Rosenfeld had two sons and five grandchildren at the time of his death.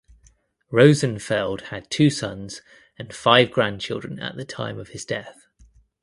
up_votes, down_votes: 2, 0